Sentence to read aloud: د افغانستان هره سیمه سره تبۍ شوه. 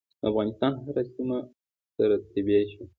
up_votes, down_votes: 2, 1